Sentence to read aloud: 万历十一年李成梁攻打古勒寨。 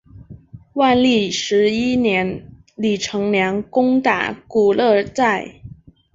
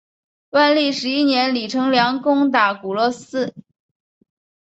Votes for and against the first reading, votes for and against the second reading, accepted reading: 2, 0, 0, 3, first